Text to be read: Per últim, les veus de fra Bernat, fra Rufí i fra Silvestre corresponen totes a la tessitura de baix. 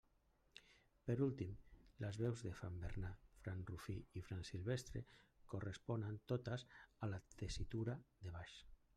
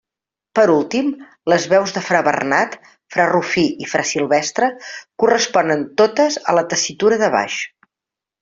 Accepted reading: second